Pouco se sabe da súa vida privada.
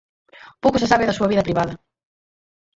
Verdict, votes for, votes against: rejected, 0, 4